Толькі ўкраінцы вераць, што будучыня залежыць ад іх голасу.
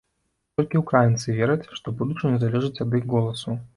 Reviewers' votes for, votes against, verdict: 1, 2, rejected